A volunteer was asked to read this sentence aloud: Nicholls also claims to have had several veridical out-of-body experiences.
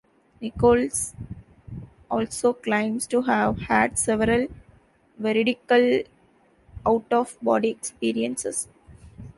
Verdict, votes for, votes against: rejected, 1, 2